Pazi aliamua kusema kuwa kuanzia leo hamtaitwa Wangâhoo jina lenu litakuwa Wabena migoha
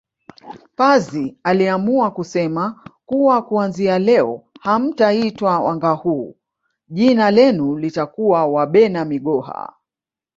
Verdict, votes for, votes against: accepted, 2, 0